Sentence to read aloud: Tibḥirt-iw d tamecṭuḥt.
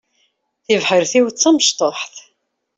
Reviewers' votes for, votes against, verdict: 2, 0, accepted